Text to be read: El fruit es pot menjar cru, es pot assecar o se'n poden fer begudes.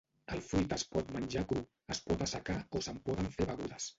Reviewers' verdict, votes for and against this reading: rejected, 0, 2